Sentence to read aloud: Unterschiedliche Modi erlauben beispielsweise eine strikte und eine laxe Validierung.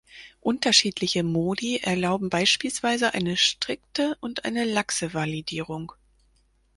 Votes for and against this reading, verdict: 4, 0, accepted